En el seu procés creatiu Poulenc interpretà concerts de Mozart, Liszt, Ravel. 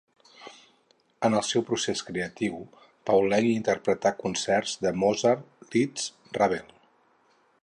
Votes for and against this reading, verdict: 2, 2, rejected